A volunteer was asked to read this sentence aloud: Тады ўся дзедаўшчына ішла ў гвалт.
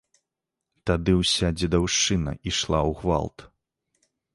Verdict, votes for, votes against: accepted, 2, 0